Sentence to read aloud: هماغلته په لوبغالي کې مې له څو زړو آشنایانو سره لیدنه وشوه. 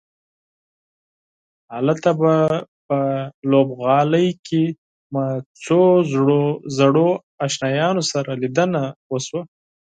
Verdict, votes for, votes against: rejected, 0, 4